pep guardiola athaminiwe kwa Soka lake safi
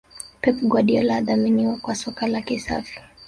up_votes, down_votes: 0, 2